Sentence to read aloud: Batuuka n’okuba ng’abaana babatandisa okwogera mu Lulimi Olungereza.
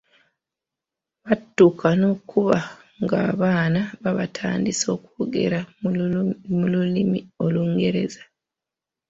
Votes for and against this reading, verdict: 1, 2, rejected